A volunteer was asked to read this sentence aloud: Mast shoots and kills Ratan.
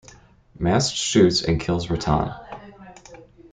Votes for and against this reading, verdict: 2, 1, accepted